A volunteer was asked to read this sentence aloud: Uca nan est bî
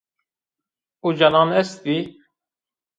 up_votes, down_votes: 1, 2